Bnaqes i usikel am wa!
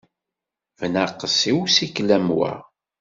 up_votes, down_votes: 2, 0